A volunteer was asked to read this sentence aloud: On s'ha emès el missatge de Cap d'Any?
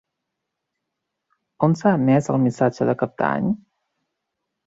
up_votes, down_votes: 2, 0